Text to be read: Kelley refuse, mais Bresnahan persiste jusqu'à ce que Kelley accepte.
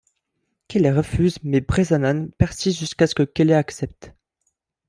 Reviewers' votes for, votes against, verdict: 0, 2, rejected